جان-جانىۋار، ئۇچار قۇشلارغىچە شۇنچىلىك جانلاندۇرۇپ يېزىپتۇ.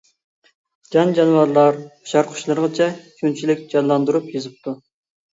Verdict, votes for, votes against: rejected, 0, 2